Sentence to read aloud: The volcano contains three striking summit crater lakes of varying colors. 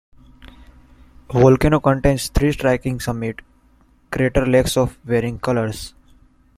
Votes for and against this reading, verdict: 2, 1, accepted